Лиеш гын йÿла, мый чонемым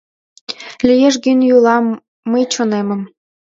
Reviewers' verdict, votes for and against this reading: accepted, 2, 1